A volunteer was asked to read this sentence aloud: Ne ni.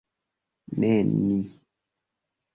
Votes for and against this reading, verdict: 2, 1, accepted